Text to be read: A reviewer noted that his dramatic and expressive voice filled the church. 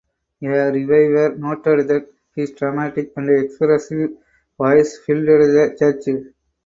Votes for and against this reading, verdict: 2, 2, rejected